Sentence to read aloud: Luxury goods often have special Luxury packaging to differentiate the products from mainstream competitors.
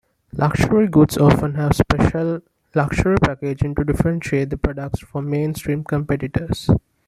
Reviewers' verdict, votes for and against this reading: accepted, 2, 0